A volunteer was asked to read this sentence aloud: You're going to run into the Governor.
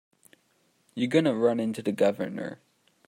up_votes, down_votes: 1, 2